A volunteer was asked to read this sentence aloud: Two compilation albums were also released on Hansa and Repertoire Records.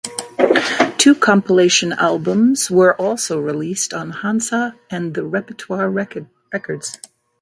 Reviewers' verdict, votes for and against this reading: rejected, 0, 2